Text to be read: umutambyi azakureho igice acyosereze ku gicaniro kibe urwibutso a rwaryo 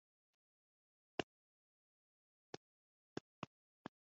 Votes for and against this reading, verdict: 0, 2, rejected